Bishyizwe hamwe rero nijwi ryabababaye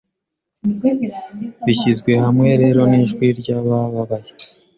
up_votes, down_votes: 2, 0